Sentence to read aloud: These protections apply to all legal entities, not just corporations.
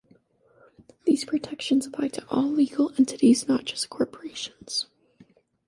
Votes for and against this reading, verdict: 2, 0, accepted